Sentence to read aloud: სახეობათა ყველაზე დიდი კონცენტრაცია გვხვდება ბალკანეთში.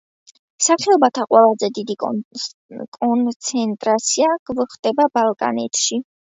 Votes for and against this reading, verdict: 1, 2, rejected